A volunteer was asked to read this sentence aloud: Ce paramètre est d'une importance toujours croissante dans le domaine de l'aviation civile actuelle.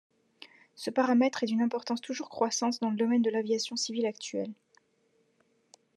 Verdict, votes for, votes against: accepted, 2, 0